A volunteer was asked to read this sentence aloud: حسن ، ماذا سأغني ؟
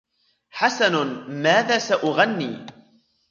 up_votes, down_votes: 2, 1